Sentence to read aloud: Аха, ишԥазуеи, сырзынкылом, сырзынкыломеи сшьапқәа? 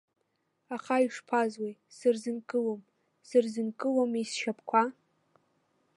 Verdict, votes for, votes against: rejected, 2, 3